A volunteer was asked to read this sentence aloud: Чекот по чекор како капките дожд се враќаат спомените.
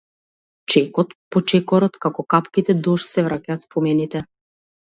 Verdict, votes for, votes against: rejected, 2, 2